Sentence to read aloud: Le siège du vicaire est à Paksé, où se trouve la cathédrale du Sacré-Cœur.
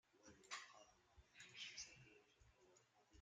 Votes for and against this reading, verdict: 0, 2, rejected